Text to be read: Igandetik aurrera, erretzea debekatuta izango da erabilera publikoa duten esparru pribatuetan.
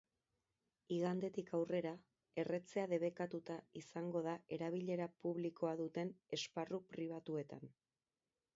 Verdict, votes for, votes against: rejected, 2, 2